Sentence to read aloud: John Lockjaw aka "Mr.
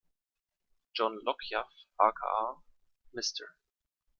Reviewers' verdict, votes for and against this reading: rejected, 1, 2